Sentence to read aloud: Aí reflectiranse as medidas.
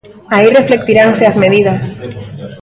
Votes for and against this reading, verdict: 0, 2, rejected